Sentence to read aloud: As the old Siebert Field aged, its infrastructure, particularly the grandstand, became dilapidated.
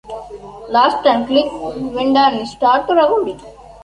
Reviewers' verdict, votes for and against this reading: rejected, 0, 2